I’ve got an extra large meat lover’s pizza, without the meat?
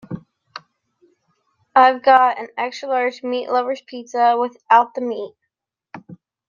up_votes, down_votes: 2, 1